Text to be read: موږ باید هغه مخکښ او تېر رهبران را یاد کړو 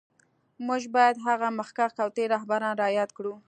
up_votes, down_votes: 2, 0